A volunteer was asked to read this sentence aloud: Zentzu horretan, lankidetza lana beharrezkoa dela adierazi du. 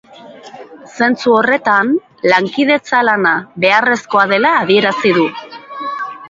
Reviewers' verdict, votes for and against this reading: accepted, 2, 0